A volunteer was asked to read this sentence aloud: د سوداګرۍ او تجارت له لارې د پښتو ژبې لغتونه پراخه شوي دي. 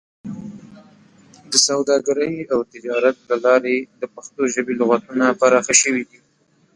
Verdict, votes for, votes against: rejected, 1, 2